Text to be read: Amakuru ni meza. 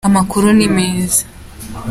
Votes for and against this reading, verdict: 2, 0, accepted